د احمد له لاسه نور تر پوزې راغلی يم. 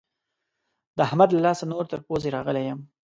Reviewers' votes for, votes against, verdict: 2, 0, accepted